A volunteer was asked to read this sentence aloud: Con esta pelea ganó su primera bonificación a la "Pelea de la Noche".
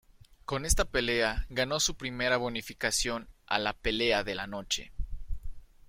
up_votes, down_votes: 2, 1